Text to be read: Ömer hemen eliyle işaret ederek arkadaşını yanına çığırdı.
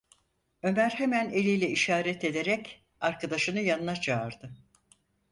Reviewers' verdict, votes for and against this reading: rejected, 0, 4